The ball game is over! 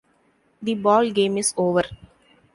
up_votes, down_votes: 2, 0